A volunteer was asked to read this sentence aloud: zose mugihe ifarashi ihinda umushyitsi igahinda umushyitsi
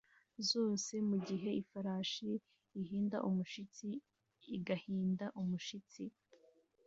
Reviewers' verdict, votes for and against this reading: accepted, 2, 0